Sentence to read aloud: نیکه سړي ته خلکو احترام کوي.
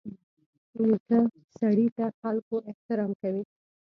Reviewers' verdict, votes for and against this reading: rejected, 0, 2